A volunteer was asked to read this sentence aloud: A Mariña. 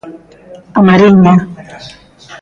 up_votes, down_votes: 1, 2